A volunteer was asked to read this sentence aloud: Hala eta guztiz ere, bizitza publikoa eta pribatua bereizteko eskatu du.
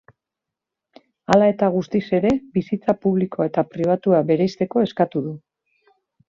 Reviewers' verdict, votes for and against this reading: rejected, 1, 2